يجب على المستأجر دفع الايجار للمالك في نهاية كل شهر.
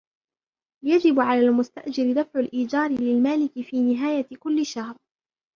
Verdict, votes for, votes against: accepted, 2, 1